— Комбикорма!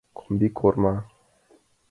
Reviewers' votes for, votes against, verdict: 2, 1, accepted